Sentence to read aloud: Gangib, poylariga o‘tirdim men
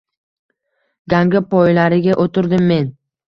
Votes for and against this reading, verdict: 1, 2, rejected